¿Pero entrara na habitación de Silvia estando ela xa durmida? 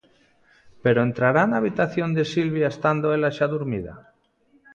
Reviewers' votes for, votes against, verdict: 0, 2, rejected